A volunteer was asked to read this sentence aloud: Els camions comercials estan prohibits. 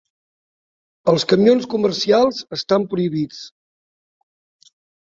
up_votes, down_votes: 4, 0